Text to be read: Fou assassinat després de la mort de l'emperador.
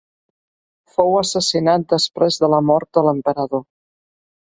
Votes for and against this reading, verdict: 2, 0, accepted